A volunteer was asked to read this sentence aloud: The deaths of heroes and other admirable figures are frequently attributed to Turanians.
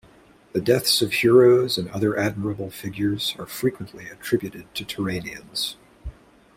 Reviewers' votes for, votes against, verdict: 2, 0, accepted